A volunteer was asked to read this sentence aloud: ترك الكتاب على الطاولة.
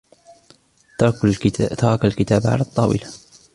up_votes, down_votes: 1, 2